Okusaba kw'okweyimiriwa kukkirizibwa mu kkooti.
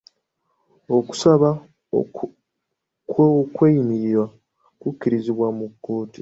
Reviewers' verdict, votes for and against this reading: rejected, 1, 2